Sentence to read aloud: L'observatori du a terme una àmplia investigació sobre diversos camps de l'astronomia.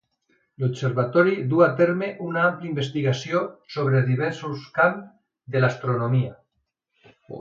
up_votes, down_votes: 3, 0